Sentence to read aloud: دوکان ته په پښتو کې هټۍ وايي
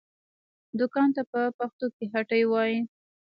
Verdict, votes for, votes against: rejected, 0, 2